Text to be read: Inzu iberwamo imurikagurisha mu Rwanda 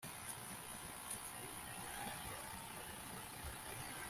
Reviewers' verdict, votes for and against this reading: rejected, 1, 2